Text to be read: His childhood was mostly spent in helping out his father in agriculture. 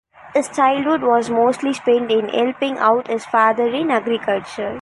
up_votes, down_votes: 2, 0